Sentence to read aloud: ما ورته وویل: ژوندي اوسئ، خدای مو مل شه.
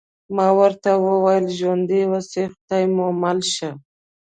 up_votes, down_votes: 2, 0